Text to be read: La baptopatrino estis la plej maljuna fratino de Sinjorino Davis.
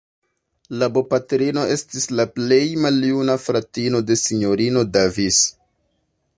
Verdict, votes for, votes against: rejected, 1, 2